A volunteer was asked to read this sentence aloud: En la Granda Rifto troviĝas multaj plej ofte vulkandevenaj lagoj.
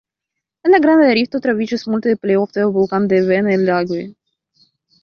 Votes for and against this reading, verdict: 0, 2, rejected